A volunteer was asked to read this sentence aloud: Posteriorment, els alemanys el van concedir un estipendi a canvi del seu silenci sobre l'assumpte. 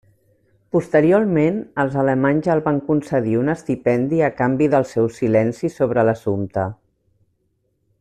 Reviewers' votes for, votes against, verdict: 3, 0, accepted